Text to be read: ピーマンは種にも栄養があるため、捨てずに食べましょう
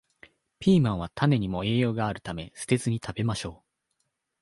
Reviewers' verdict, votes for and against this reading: accepted, 4, 1